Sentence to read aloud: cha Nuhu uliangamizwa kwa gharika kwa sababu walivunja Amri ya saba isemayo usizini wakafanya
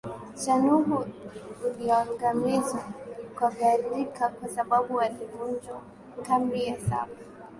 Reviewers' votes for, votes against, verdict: 0, 2, rejected